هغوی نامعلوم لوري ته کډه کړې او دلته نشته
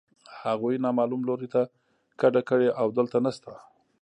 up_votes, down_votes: 2, 1